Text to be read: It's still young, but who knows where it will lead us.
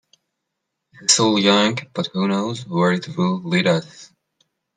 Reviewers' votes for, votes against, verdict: 0, 2, rejected